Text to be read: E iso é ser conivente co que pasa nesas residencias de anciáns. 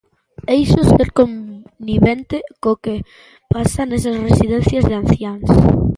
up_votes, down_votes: 1, 2